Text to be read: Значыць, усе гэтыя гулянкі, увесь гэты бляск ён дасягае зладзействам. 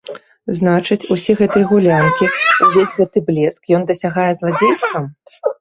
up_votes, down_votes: 1, 2